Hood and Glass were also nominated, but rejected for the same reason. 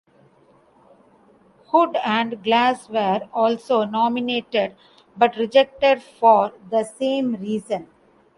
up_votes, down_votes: 2, 0